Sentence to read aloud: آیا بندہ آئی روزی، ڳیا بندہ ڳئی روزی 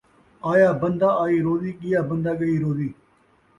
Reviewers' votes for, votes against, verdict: 2, 0, accepted